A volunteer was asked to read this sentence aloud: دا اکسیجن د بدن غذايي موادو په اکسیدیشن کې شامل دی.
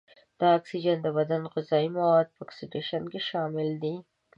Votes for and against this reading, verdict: 2, 1, accepted